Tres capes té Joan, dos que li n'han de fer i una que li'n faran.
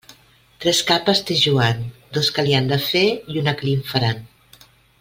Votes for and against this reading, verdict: 2, 0, accepted